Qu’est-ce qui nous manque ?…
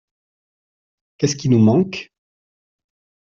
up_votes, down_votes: 2, 0